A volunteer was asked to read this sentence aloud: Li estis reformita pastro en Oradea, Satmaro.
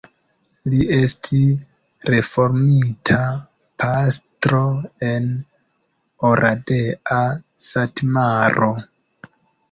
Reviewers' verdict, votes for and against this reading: accepted, 2, 1